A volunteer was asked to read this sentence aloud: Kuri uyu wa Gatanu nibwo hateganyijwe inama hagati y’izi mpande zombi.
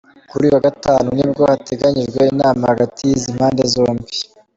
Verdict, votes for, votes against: rejected, 1, 2